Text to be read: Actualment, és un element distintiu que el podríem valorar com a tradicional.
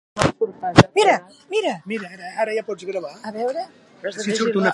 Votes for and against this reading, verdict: 0, 3, rejected